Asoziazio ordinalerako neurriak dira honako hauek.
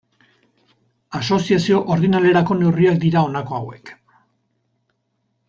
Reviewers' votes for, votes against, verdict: 4, 0, accepted